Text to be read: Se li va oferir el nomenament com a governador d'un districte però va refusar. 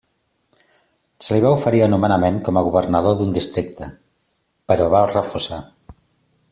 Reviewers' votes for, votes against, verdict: 2, 1, accepted